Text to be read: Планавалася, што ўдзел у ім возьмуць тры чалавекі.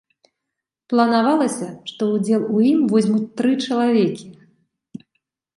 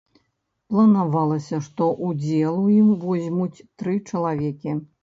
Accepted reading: first